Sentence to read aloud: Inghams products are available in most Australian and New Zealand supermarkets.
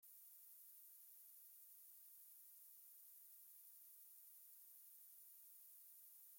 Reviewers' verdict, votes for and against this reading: rejected, 0, 2